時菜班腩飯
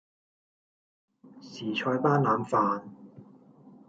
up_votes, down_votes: 2, 0